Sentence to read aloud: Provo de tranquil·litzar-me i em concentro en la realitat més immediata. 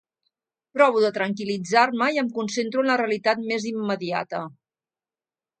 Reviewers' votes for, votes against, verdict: 2, 0, accepted